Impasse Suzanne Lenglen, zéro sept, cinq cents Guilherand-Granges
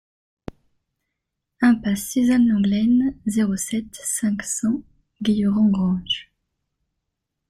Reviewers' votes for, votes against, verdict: 2, 0, accepted